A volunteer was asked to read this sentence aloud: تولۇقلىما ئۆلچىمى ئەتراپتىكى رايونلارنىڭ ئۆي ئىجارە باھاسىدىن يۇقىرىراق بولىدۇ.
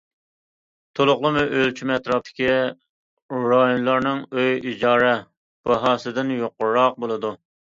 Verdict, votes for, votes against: accepted, 2, 0